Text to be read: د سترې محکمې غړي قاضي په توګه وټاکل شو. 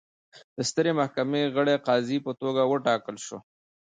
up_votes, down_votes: 0, 2